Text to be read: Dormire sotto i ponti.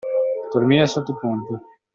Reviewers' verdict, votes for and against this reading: accepted, 2, 1